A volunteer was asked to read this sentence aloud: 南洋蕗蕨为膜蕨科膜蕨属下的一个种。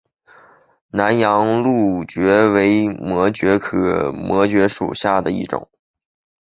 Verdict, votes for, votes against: accepted, 2, 0